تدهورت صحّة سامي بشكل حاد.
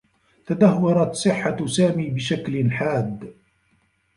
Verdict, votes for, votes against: rejected, 1, 3